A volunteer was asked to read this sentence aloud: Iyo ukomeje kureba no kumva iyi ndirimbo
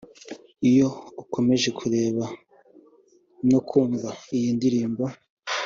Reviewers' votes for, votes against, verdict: 2, 0, accepted